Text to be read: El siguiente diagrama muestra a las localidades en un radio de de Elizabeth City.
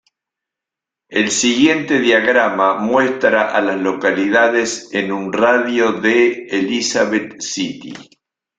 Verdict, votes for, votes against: accepted, 2, 0